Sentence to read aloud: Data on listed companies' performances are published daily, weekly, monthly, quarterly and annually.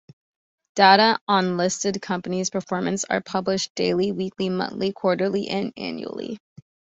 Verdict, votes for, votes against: rejected, 0, 2